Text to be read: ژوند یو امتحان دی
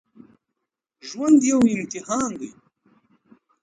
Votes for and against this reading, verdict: 2, 0, accepted